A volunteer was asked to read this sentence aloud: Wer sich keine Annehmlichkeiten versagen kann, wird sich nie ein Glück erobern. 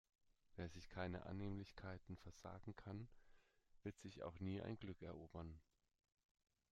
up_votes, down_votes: 1, 2